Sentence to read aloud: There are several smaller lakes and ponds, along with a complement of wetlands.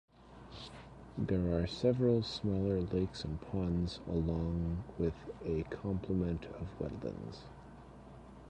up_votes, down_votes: 1, 2